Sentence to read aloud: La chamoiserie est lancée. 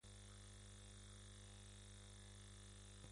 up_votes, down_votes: 0, 2